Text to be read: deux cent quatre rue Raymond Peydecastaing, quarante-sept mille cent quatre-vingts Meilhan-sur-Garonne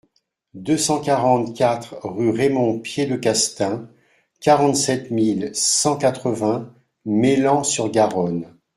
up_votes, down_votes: 0, 2